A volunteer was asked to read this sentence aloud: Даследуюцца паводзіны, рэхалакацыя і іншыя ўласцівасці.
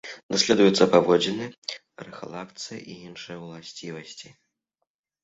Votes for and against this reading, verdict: 1, 2, rejected